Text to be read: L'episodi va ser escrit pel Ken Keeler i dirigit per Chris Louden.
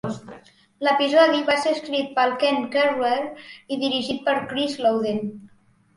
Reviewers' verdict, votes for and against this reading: rejected, 1, 2